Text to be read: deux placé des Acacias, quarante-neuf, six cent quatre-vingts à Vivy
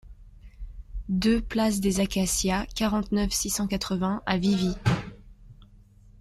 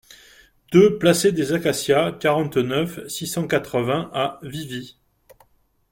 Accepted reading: second